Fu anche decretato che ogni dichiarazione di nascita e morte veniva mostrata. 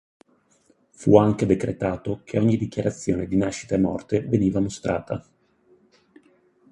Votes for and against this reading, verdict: 4, 0, accepted